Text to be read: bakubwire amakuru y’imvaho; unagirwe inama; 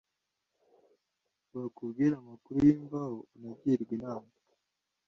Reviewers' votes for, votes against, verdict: 2, 0, accepted